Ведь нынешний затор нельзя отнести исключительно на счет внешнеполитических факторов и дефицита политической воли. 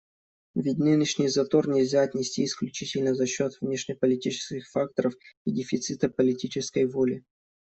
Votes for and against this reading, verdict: 1, 2, rejected